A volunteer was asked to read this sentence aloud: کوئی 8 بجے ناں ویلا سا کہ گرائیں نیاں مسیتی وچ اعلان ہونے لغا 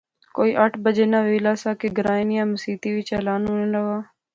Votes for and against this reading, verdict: 0, 2, rejected